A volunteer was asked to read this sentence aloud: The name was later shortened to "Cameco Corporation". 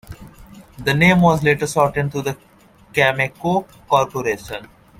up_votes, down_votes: 2, 1